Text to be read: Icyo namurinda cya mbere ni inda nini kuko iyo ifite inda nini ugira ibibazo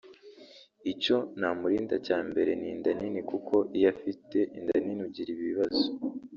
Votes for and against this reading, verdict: 0, 2, rejected